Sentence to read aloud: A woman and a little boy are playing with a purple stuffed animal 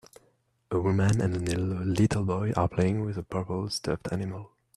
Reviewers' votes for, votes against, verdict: 0, 2, rejected